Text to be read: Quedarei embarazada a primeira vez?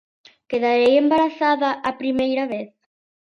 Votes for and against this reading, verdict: 2, 0, accepted